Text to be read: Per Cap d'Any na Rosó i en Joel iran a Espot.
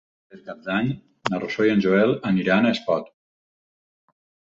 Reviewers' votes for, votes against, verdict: 0, 4, rejected